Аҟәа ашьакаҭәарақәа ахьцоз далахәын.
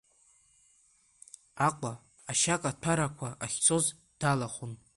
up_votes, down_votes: 1, 2